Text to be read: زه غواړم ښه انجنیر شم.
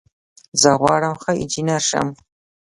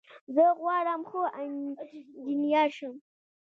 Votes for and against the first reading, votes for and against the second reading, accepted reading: 2, 0, 1, 2, first